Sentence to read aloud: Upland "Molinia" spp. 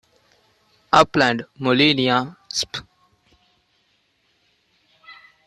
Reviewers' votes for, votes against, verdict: 2, 1, accepted